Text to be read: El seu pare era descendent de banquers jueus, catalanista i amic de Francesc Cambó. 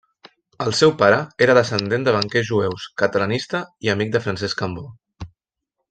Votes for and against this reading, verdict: 2, 0, accepted